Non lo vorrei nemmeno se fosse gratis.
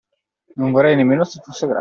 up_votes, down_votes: 0, 2